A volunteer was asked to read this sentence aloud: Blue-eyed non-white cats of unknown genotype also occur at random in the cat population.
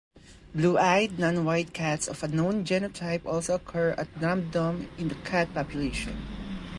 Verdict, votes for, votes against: accepted, 3, 0